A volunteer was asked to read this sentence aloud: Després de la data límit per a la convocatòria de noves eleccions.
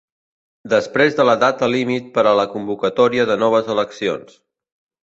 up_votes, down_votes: 2, 0